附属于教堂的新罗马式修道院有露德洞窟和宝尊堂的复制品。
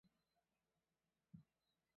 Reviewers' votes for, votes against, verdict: 0, 5, rejected